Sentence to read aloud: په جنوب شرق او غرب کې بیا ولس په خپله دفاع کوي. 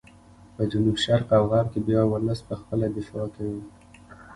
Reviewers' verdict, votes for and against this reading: accepted, 2, 0